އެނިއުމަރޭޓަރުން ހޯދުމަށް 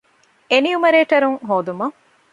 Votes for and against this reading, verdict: 2, 0, accepted